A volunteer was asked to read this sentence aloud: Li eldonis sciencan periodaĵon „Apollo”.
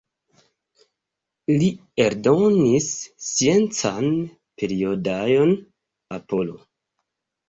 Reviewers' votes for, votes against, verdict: 1, 2, rejected